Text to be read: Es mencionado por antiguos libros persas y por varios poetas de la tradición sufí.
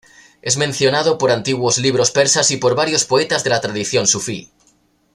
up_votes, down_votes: 2, 0